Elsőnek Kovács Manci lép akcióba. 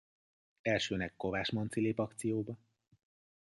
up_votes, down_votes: 2, 0